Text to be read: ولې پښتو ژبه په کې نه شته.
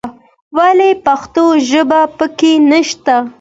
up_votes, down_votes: 2, 0